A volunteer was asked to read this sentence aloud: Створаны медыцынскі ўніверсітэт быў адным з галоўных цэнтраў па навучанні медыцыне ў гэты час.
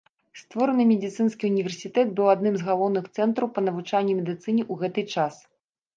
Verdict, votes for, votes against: rejected, 0, 2